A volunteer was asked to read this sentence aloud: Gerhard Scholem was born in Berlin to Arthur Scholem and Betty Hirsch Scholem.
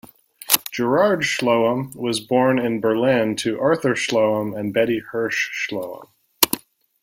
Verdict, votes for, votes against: rejected, 1, 3